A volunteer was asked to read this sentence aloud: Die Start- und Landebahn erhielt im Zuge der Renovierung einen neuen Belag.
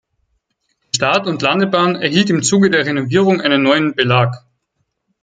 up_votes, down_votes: 2, 4